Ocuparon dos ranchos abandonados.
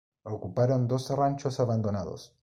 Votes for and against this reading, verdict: 2, 0, accepted